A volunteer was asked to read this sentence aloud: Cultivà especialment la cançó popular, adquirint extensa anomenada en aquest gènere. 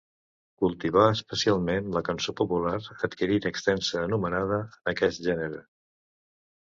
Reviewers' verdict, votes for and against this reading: rejected, 0, 2